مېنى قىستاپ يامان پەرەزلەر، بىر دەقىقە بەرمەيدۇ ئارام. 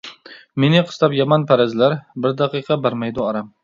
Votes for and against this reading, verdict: 2, 0, accepted